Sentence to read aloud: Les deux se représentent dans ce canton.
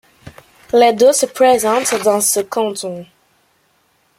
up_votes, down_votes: 0, 2